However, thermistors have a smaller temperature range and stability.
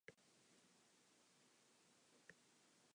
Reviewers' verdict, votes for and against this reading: rejected, 0, 2